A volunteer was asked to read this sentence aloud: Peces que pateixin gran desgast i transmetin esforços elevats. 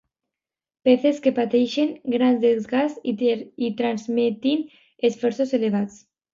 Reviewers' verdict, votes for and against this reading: rejected, 1, 2